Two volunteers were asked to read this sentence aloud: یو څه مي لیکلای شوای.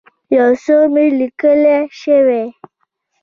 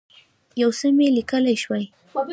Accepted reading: first